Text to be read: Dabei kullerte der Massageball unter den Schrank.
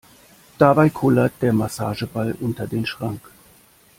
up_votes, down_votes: 1, 2